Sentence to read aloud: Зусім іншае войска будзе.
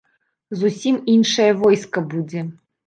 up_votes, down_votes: 2, 0